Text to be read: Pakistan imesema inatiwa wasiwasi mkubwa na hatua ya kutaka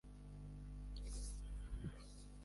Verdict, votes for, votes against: rejected, 1, 7